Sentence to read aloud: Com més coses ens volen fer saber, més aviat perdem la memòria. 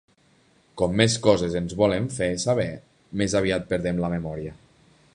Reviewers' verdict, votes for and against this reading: accepted, 2, 0